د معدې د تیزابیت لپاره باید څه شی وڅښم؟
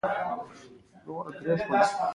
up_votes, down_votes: 2, 0